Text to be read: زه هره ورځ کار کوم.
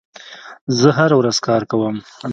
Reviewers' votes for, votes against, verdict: 2, 0, accepted